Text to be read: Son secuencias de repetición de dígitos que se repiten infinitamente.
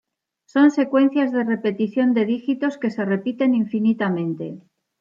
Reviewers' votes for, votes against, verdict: 2, 0, accepted